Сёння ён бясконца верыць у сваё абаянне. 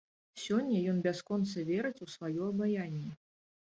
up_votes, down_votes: 2, 0